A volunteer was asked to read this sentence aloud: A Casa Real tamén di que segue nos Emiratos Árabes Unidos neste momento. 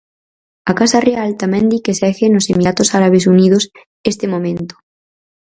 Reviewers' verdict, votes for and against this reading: rejected, 0, 4